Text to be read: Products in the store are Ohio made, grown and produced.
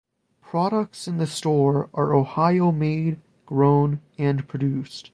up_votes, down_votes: 2, 0